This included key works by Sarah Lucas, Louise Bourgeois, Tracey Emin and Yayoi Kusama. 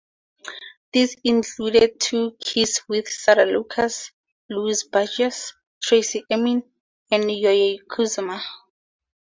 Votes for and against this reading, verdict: 0, 4, rejected